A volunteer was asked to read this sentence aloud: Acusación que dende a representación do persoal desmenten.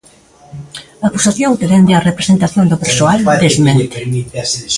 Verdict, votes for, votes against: rejected, 1, 2